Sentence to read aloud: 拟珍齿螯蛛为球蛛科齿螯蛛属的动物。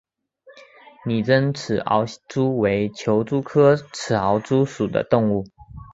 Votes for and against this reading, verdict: 3, 0, accepted